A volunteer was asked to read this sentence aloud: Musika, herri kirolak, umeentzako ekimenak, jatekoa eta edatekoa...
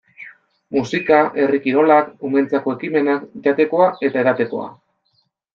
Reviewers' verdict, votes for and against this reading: accepted, 2, 0